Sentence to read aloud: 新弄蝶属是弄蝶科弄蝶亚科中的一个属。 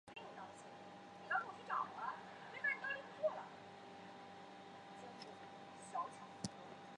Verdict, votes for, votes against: rejected, 0, 2